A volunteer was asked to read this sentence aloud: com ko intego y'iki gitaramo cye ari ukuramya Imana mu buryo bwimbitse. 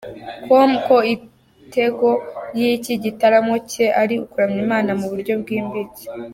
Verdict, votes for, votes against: rejected, 1, 2